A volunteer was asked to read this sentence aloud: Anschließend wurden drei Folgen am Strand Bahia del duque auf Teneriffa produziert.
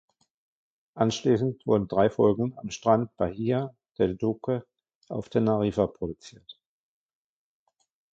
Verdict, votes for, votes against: rejected, 0, 2